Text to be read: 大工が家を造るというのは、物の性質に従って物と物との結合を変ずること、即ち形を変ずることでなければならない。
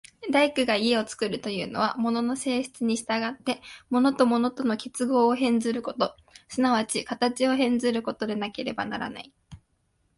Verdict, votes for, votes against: accepted, 2, 0